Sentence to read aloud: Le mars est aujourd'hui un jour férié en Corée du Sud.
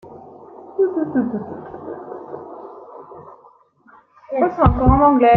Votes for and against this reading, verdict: 0, 3, rejected